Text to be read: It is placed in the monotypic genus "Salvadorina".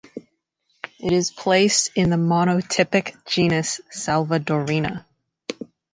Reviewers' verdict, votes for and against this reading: accepted, 2, 0